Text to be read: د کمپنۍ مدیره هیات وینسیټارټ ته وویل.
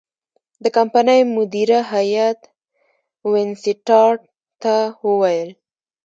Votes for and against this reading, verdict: 1, 2, rejected